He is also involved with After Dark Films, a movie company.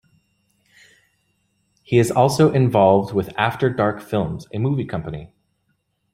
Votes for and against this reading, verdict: 2, 0, accepted